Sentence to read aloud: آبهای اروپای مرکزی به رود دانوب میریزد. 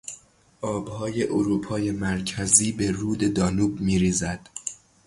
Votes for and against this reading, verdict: 0, 3, rejected